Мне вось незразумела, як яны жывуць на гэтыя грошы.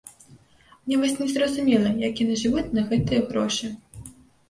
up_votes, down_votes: 2, 0